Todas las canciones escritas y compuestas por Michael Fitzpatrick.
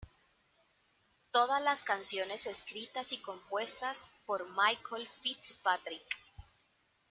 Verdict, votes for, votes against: rejected, 1, 2